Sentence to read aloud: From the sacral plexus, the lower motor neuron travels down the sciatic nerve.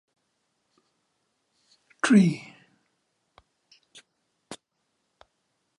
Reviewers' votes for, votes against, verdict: 0, 2, rejected